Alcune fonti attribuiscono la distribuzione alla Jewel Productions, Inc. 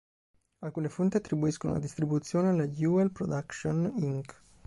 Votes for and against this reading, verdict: 0, 2, rejected